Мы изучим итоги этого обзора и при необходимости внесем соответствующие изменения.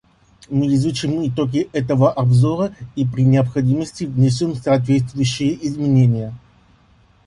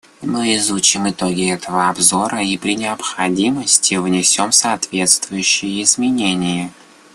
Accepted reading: second